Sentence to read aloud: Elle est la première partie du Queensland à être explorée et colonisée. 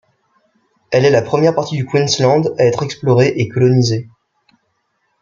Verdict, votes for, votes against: accepted, 2, 0